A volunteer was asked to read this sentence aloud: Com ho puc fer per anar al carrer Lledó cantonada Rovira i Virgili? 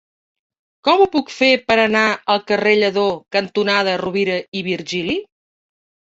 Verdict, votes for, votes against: accepted, 3, 0